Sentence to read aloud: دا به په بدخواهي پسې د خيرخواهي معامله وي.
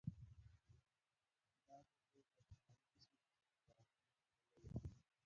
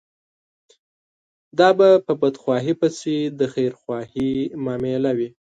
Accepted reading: second